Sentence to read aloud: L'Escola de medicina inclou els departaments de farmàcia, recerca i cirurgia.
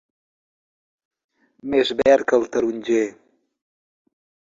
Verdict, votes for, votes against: rejected, 0, 2